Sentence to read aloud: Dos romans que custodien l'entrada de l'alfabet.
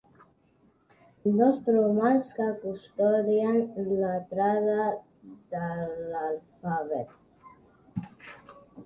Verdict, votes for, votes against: rejected, 0, 2